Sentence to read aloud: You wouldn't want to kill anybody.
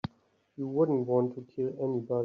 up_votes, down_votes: 2, 6